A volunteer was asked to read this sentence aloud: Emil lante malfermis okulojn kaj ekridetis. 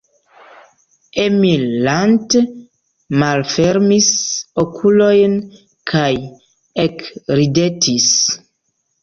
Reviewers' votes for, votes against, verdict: 2, 0, accepted